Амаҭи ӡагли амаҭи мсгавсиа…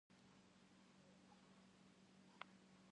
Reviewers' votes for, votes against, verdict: 0, 2, rejected